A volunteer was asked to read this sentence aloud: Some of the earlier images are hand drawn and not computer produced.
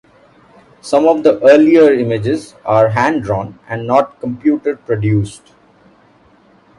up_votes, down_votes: 2, 0